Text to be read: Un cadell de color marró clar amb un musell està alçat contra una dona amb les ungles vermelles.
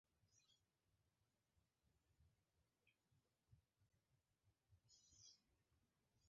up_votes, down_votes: 0, 2